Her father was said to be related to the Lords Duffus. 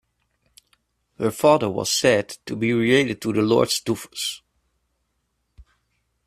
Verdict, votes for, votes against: accepted, 2, 0